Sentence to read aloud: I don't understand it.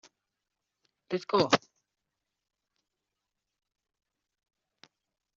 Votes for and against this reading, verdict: 0, 2, rejected